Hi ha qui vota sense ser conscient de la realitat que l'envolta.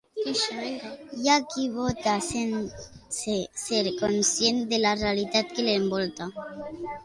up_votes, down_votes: 2, 1